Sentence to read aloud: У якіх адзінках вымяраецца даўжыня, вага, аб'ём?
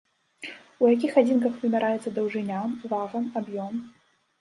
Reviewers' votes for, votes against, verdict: 2, 0, accepted